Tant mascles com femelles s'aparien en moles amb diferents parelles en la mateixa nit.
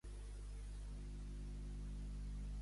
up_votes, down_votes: 1, 2